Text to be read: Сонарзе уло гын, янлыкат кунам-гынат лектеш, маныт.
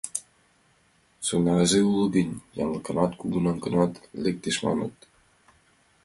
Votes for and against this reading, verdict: 2, 0, accepted